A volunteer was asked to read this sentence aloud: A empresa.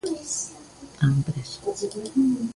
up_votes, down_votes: 1, 2